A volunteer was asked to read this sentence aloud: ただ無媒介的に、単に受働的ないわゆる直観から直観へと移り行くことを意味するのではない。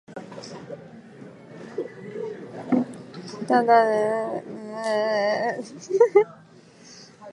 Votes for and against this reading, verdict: 0, 2, rejected